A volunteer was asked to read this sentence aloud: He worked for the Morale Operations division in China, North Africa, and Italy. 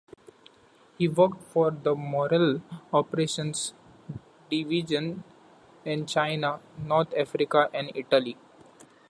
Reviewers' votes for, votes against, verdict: 2, 1, accepted